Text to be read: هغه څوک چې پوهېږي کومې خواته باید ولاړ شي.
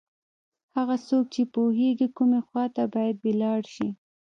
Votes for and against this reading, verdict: 2, 0, accepted